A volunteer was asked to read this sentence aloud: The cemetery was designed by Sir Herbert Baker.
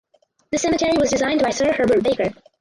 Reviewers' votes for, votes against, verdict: 2, 4, rejected